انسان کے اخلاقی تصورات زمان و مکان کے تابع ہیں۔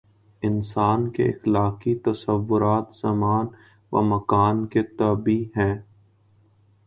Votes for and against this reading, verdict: 2, 1, accepted